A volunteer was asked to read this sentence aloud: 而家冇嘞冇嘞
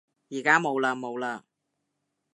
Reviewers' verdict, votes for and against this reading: accepted, 2, 0